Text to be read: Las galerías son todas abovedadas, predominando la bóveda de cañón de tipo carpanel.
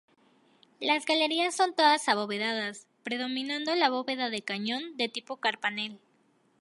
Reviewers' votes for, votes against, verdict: 2, 0, accepted